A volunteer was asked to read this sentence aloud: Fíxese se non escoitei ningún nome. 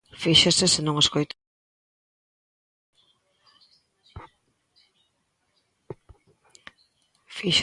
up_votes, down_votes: 0, 2